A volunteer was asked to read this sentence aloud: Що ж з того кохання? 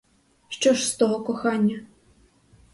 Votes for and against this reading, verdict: 2, 0, accepted